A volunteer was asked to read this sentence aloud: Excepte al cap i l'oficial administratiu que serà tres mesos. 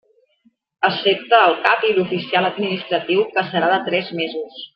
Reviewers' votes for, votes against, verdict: 2, 1, accepted